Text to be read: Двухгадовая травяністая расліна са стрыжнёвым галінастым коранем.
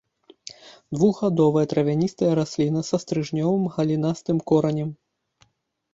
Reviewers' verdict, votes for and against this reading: accepted, 2, 0